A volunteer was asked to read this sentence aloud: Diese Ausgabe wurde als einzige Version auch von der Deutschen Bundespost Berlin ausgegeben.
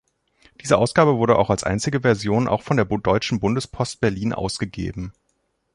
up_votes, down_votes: 0, 2